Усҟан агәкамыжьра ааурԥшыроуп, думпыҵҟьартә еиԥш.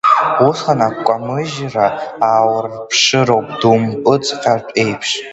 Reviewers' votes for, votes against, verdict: 2, 3, rejected